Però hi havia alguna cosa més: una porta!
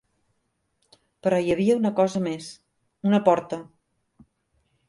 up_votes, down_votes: 0, 2